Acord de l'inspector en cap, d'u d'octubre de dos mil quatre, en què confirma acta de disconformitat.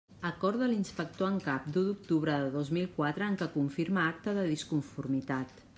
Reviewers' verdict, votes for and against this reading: accepted, 2, 0